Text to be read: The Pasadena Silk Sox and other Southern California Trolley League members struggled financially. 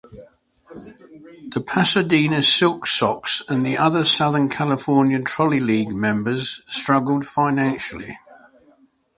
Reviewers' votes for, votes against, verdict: 1, 2, rejected